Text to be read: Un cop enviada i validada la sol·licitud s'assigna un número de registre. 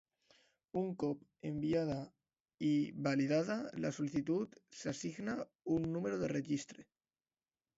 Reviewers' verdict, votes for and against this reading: rejected, 0, 2